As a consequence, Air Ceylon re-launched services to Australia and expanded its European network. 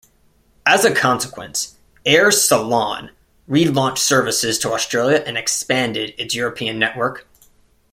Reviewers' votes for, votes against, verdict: 1, 2, rejected